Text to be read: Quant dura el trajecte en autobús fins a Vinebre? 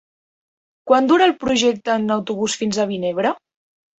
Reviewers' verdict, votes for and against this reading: rejected, 1, 2